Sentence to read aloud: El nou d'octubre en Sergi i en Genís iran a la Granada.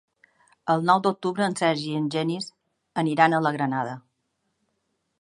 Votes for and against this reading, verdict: 0, 3, rejected